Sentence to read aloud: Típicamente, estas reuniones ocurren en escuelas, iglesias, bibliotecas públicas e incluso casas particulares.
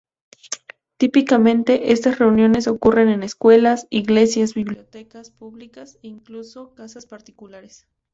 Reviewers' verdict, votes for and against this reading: accepted, 2, 0